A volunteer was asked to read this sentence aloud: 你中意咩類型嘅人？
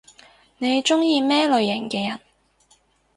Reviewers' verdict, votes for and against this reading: accepted, 4, 0